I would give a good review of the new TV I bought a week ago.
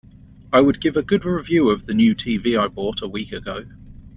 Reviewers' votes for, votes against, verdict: 2, 0, accepted